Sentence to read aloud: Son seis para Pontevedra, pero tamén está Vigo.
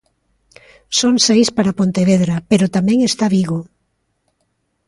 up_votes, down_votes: 2, 0